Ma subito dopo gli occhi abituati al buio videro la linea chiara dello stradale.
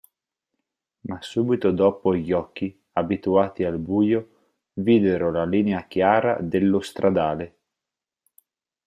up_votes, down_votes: 4, 0